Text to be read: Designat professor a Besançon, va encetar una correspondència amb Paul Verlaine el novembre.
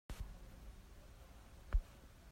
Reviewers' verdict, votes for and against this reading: rejected, 0, 3